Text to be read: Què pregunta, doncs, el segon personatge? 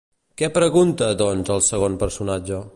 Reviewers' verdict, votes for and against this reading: accepted, 2, 0